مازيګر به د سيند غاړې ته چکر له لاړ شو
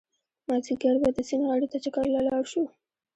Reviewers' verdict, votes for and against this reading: accepted, 2, 0